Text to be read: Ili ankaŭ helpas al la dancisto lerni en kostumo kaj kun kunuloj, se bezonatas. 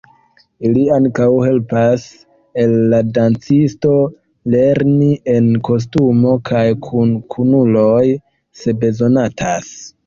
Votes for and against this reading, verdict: 2, 1, accepted